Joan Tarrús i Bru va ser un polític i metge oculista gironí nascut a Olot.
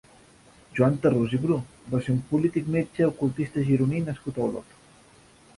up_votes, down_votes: 0, 2